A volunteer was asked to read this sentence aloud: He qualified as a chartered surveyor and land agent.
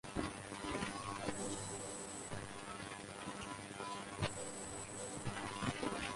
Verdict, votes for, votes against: rejected, 0, 2